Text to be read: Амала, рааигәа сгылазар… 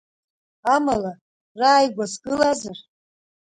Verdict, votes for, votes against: rejected, 1, 2